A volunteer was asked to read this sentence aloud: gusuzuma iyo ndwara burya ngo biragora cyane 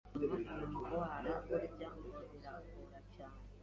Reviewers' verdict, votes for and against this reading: rejected, 1, 2